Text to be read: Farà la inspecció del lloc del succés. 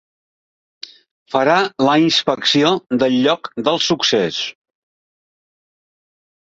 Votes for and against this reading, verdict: 3, 0, accepted